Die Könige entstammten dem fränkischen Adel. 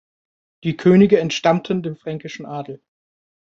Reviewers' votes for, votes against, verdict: 2, 0, accepted